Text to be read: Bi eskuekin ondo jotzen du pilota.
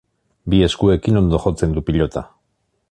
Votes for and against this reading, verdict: 3, 0, accepted